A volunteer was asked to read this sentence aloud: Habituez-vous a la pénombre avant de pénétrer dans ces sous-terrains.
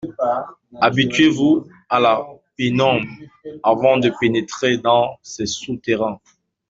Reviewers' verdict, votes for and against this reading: accepted, 2, 0